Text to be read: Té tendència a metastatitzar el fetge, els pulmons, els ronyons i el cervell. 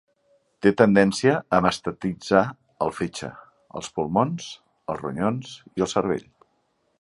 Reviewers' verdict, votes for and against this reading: rejected, 1, 2